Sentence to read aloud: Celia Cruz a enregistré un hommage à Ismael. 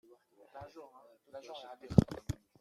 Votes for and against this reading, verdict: 0, 2, rejected